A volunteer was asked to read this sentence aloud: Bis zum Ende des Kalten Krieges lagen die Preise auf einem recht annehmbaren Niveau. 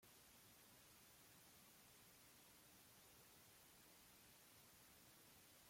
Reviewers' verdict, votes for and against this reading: rejected, 0, 2